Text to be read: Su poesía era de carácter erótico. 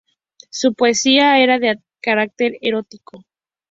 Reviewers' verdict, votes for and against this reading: accepted, 2, 0